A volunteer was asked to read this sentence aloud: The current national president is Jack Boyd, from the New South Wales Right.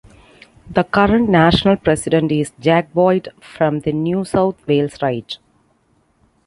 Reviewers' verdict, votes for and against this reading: accepted, 2, 0